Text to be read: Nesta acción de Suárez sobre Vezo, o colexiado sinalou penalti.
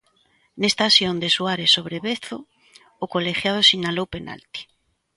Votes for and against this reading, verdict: 0, 2, rejected